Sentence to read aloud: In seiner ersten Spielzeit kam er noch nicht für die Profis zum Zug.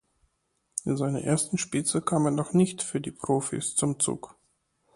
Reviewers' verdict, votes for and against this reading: accepted, 2, 0